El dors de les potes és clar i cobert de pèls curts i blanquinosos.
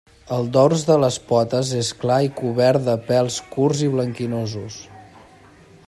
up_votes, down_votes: 3, 0